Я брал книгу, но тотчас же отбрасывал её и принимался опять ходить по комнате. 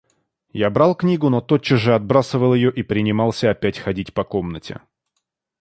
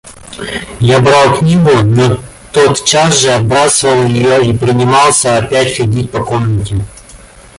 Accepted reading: first